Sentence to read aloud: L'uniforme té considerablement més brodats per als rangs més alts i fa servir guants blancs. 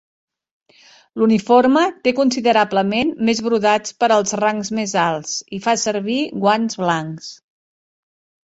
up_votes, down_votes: 4, 0